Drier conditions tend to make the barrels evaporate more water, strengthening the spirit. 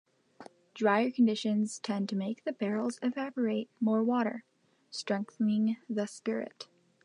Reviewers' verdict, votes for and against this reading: accepted, 2, 0